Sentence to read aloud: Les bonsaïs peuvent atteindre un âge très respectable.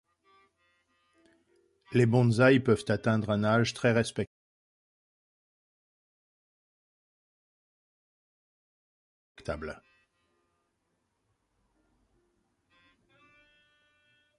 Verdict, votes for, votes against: rejected, 0, 2